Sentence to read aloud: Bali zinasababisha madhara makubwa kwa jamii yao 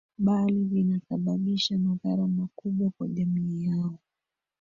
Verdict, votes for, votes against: rejected, 1, 2